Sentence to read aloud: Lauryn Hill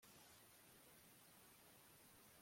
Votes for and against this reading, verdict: 0, 2, rejected